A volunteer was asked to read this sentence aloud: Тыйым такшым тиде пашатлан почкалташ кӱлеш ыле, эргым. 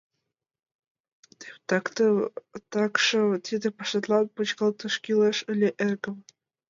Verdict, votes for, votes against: rejected, 1, 2